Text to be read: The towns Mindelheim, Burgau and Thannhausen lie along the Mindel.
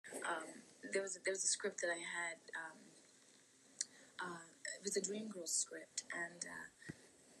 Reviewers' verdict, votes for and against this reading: rejected, 0, 2